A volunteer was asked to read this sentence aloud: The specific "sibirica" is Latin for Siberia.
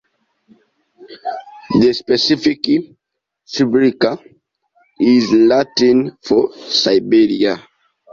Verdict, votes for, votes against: accepted, 2, 0